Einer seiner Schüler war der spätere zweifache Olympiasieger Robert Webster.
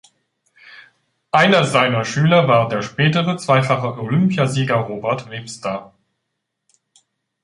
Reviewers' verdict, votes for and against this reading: accepted, 2, 0